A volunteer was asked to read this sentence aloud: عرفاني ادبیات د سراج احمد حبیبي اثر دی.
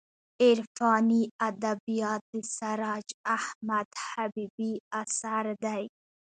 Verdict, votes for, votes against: rejected, 1, 2